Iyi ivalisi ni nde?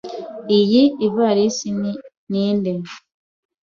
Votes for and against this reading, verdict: 1, 2, rejected